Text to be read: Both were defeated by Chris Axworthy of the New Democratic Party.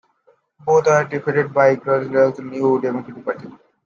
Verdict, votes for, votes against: rejected, 1, 2